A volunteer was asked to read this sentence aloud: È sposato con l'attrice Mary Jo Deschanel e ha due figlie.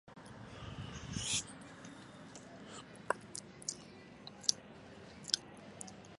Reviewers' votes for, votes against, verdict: 0, 2, rejected